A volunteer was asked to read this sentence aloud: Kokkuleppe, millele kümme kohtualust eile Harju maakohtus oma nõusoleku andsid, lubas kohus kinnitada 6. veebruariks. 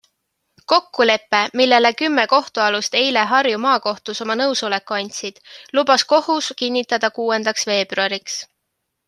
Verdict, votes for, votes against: rejected, 0, 2